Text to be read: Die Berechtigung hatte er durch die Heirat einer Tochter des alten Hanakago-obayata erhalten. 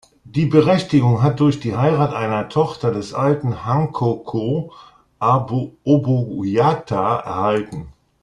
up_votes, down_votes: 0, 2